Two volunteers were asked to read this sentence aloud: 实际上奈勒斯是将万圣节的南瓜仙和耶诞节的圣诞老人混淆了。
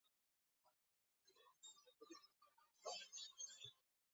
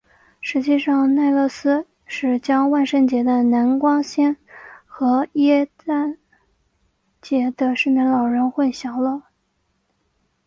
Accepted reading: second